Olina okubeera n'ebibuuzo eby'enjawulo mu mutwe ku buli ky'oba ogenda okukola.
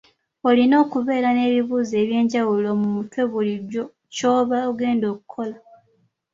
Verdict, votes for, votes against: rejected, 1, 2